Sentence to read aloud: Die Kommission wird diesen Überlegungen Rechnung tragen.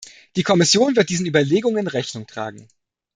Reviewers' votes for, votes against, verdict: 2, 0, accepted